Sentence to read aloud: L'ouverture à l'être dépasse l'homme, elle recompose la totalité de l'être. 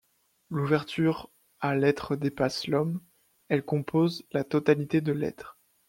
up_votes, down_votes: 0, 2